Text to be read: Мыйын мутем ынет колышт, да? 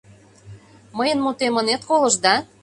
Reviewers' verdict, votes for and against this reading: accepted, 2, 0